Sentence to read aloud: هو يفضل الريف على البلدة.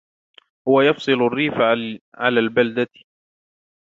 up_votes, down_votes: 1, 2